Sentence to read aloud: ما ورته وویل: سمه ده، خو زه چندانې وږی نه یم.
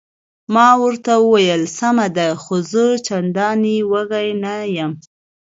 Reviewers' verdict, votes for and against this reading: accepted, 2, 0